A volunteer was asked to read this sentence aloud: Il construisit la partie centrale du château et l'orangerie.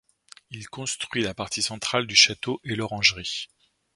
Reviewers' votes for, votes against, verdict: 1, 2, rejected